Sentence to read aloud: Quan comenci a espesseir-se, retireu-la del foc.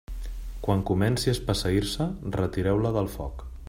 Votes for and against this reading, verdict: 2, 0, accepted